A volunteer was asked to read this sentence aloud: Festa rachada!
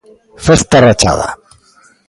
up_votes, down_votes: 2, 0